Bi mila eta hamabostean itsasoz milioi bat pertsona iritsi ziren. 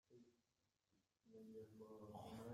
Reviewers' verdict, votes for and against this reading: rejected, 0, 2